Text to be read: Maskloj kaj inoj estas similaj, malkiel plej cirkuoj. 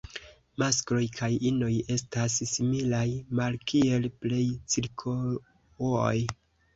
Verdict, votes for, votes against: rejected, 0, 2